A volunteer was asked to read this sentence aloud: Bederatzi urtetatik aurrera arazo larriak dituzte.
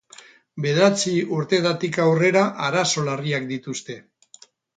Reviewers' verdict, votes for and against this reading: rejected, 2, 4